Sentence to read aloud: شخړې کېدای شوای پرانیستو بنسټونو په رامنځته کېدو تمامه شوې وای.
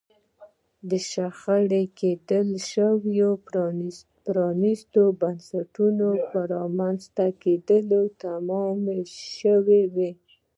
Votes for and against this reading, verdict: 1, 2, rejected